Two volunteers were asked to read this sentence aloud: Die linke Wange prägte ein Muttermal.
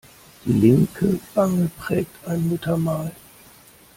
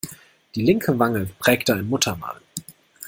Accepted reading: second